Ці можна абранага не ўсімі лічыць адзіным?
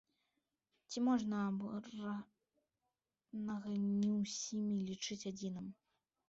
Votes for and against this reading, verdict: 0, 2, rejected